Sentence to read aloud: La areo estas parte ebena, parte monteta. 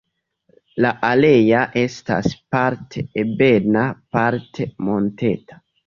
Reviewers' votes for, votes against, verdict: 1, 2, rejected